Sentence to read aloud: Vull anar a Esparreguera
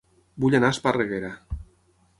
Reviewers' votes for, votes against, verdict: 6, 0, accepted